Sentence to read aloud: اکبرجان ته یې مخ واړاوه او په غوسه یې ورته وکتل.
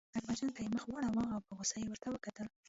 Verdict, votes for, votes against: rejected, 2, 3